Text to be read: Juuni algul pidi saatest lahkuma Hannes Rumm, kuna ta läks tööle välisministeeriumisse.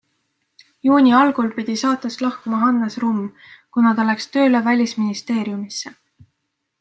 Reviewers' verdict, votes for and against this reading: accepted, 2, 0